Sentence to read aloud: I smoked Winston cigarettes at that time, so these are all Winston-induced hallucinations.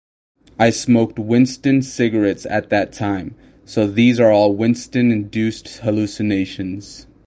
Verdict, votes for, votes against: rejected, 4, 4